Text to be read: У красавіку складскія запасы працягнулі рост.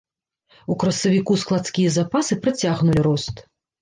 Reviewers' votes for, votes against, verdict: 0, 2, rejected